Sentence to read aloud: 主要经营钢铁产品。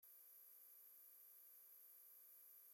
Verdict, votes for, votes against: rejected, 0, 2